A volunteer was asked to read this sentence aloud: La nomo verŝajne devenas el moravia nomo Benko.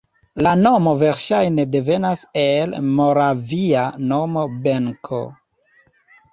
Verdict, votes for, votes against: accepted, 3, 0